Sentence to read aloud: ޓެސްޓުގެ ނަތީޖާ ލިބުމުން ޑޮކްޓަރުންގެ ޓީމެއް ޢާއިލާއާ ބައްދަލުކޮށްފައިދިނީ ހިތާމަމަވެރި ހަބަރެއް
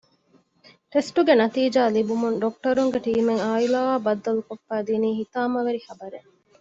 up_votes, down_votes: 2, 0